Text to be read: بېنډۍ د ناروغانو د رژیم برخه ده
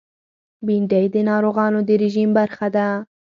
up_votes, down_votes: 4, 2